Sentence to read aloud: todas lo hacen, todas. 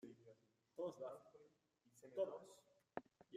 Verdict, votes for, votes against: rejected, 0, 2